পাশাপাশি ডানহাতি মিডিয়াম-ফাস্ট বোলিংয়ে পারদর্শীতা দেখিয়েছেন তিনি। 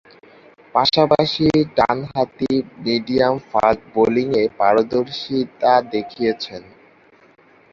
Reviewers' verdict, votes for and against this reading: rejected, 0, 2